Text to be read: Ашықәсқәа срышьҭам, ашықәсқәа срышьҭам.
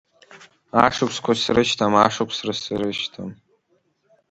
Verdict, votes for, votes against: accepted, 2, 1